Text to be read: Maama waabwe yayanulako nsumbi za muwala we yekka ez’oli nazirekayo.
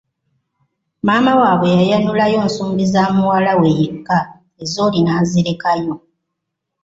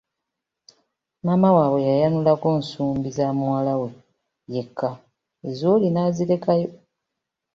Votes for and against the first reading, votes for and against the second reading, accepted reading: 0, 2, 2, 0, second